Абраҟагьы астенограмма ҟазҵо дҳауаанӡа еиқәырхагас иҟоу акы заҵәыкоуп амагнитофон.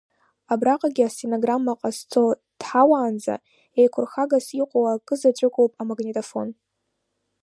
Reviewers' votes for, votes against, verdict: 2, 0, accepted